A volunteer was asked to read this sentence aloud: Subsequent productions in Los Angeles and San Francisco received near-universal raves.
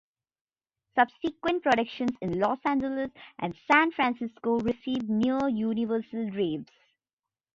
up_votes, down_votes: 1, 2